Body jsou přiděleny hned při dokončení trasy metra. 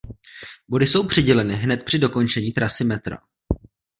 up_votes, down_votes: 2, 0